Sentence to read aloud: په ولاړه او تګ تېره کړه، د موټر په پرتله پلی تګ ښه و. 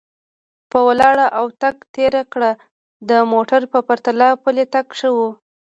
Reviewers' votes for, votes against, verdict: 2, 0, accepted